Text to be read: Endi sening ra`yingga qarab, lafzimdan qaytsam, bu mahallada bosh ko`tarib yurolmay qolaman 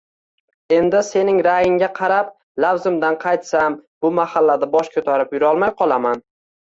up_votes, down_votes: 2, 0